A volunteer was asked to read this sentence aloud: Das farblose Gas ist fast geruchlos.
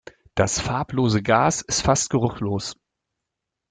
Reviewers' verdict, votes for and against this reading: accepted, 2, 1